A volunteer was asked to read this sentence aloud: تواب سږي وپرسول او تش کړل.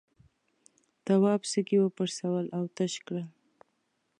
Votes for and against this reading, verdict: 1, 2, rejected